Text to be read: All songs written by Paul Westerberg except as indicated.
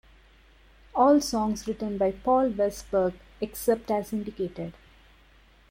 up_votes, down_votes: 0, 2